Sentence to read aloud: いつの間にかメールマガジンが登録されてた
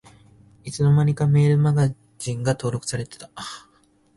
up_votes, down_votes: 7, 2